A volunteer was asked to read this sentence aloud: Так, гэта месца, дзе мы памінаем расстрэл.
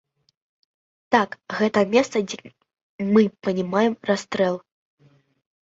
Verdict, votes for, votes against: rejected, 0, 2